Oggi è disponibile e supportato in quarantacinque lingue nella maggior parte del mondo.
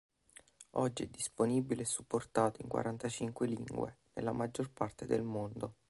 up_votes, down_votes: 1, 2